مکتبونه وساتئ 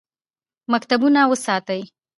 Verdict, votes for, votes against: rejected, 1, 2